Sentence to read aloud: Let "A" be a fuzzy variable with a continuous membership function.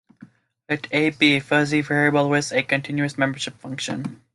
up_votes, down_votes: 2, 0